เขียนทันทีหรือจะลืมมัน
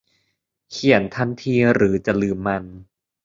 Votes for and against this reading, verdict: 2, 0, accepted